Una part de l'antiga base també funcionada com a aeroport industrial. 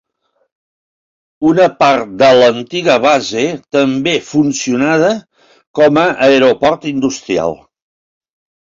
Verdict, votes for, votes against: accepted, 3, 0